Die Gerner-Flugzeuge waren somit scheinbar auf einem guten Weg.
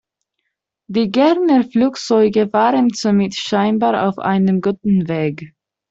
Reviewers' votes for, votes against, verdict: 2, 0, accepted